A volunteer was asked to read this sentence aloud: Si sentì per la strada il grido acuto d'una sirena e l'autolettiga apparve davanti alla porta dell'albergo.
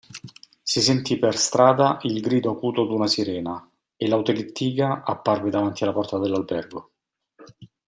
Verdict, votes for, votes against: rejected, 0, 2